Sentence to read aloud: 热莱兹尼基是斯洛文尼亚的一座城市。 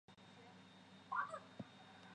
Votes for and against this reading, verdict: 0, 2, rejected